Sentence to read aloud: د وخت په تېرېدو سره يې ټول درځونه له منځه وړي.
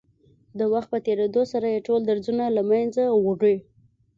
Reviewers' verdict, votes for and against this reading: accepted, 2, 0